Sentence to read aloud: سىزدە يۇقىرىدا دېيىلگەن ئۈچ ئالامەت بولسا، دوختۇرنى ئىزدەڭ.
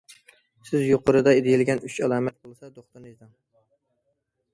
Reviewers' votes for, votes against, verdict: 0, 2, rejected